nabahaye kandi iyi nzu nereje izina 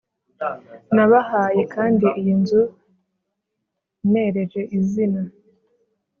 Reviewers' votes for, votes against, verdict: 2, 0, accepted